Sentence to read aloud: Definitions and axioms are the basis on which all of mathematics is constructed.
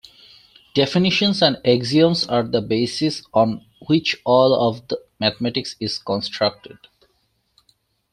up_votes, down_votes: 2, 1